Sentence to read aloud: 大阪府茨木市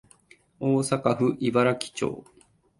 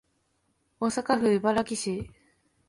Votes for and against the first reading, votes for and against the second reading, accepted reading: 1, 2, 2, 0, second